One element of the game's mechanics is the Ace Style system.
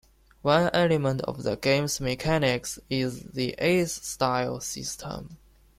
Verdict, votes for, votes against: accepted, 2, 0